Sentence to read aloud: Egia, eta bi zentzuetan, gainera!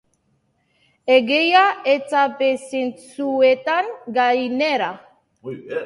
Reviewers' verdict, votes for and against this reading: rejected, 1, 2